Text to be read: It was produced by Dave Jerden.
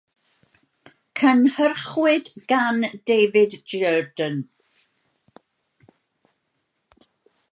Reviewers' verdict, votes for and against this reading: rejected, 0, 2